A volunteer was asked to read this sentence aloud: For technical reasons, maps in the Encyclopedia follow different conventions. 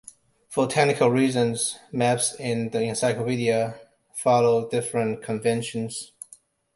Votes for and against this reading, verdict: 0, 2, rejected